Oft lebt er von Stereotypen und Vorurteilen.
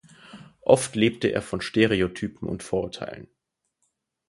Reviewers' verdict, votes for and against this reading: rejected, 0, 4